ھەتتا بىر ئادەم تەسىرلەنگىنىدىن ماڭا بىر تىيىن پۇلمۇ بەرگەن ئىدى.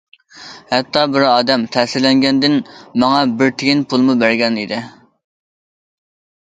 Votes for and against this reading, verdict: 0, 2, rejected